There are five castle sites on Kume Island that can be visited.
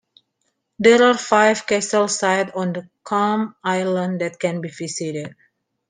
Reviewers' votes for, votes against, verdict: 0, 2, rejected